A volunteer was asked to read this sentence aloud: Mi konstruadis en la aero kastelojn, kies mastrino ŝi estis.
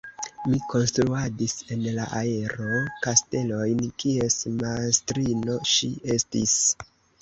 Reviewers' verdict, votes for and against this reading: rejected, 0, 2